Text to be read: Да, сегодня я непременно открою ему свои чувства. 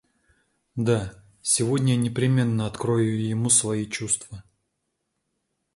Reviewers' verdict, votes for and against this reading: accepted, 2, 0